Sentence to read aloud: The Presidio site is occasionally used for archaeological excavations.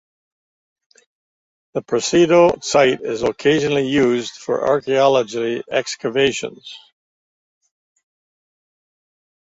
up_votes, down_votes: 2, 1